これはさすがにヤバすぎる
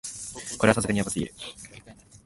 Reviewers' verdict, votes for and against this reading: rejected, 1, 2